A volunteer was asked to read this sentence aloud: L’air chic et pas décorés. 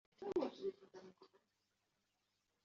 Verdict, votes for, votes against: rejected, 0, 2